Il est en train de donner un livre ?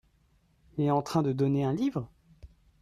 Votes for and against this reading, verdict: 0, 2, rejected